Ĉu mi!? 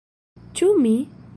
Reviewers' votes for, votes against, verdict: 1, 2, rejected